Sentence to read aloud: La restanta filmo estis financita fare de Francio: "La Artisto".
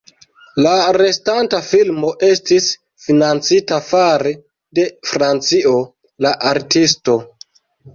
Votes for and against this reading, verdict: 1, 2, rejected